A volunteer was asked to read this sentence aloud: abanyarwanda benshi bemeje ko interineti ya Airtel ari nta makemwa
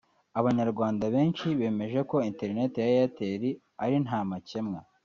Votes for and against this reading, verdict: 2, 0, accepted